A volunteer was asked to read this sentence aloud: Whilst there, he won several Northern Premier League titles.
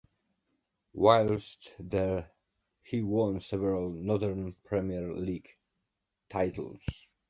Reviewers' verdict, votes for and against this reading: accepted, 2, 0